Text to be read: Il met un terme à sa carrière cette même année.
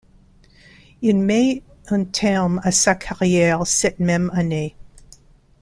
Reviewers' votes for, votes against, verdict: 2, 0, accepted